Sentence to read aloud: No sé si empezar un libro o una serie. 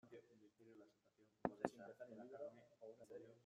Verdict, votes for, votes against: rejected, 0, 2